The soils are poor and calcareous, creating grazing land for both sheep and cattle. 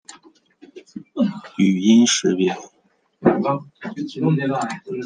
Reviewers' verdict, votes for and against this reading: rejected, 0, 2